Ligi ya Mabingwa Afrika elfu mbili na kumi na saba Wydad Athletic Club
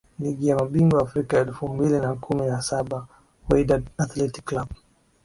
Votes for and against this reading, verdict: 7, 4, accepted